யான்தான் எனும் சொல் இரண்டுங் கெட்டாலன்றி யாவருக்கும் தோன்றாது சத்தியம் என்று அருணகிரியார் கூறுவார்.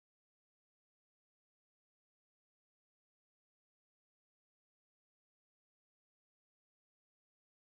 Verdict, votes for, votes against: rejected, 0, 2